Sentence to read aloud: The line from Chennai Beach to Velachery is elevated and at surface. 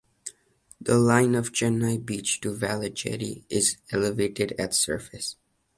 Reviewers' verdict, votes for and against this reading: rejected, 1, 2